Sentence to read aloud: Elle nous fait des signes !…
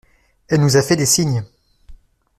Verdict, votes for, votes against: rejected, 1, 2